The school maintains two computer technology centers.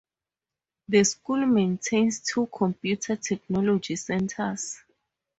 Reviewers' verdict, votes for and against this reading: rejected, 2, 2